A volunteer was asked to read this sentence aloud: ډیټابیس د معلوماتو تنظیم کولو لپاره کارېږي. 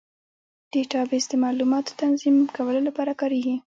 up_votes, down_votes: 2, 0